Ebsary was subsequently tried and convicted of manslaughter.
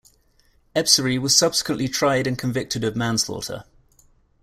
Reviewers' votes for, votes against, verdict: 2, 0, accepted